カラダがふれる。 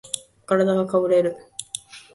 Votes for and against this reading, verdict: 0, 2, rejected